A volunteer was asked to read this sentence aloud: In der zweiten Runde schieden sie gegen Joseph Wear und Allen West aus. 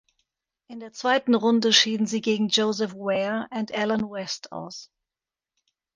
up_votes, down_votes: 1, 2